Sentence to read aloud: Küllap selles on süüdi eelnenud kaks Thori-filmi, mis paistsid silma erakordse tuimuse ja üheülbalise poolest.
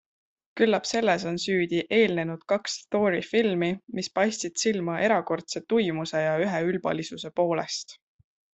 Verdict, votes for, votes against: accepted, 2, 0